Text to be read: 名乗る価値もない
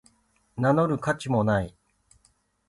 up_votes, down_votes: 1, 3